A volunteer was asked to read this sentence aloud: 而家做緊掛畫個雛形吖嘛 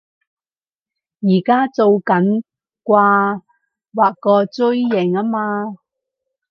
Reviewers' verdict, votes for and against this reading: rejected, 2, 4